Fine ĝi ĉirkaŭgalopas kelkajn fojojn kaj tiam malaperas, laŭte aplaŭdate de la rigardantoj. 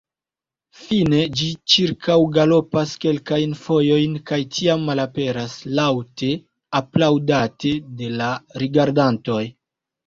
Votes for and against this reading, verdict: 2, 1, accepted